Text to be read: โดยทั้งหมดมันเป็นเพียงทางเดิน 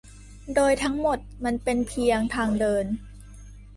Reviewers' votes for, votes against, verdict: 2, 0, accepted